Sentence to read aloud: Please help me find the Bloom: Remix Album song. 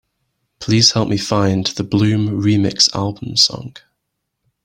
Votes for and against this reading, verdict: 3, 0, accepted